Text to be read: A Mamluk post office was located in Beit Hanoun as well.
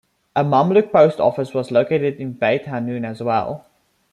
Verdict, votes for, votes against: rejected, 1, 2